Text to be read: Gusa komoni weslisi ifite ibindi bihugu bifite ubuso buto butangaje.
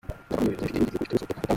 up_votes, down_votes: 0, 2